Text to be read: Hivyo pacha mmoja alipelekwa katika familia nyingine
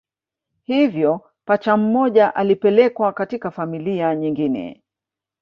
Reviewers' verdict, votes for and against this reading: rejected, 0, 2